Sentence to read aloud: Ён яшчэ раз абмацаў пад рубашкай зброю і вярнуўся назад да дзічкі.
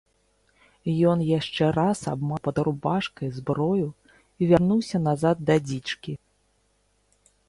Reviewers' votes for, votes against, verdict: 0, 2, rejected